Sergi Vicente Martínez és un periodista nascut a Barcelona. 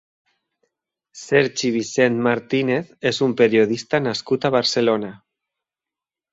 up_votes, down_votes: 1, 2